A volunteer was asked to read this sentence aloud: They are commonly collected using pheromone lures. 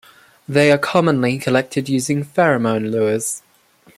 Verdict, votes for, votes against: accepted, 2, 1